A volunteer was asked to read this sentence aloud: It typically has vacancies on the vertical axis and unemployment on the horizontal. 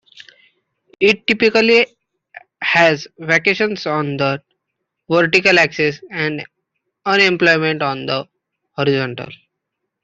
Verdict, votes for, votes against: rejected, 0, 2